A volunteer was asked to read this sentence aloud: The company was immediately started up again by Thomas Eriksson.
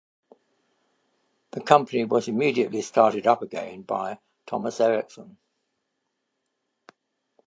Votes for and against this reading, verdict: 2, 0, accepted